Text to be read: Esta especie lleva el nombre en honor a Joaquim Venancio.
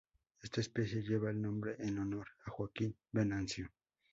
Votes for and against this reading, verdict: 4, 0, accepted